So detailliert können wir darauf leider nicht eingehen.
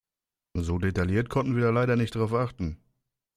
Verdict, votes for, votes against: rejected, 0, 2